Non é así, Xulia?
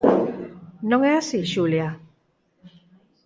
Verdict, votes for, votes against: accepted, 4, 0